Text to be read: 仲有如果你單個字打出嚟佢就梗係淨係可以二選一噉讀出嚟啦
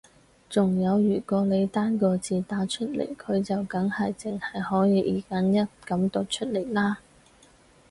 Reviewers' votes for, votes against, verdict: 0, 2, rejected